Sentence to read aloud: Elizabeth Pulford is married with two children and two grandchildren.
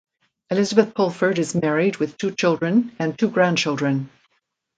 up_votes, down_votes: 2, 0